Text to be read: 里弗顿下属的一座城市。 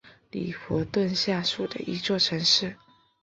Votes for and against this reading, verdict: 2, 0, accepted